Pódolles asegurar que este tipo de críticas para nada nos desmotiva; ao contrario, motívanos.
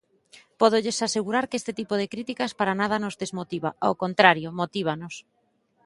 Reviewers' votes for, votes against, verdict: 2, 0, accepted